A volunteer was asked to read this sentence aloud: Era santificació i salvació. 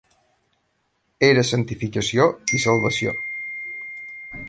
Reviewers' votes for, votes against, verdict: 3, 0, accepted